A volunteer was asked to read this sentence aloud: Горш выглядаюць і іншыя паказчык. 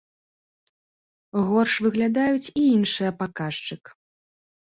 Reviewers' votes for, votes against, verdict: 2, 0, accepted